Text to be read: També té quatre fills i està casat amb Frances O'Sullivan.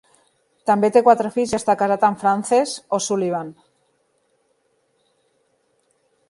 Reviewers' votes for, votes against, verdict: 3, 0, accepted